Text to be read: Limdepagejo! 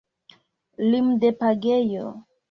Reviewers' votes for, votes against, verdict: 1, 2, rejected